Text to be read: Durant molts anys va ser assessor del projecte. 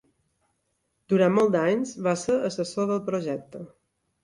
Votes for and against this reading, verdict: 3, 0, accepted